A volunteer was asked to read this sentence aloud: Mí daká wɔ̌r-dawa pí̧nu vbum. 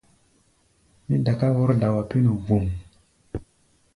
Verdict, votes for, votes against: accepted, 2, 0